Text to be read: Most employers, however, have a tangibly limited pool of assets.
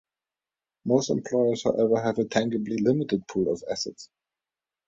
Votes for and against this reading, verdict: 2, 0, accepted